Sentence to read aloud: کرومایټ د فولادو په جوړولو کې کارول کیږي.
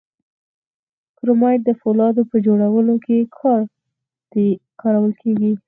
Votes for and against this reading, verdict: 2, 4, rejected